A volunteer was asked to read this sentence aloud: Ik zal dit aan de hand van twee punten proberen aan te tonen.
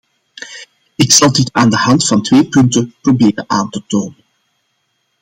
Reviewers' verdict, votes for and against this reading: accepted, 2, 0